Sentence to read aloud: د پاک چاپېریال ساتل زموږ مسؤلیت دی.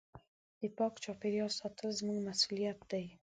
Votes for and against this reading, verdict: 2, 0, accepted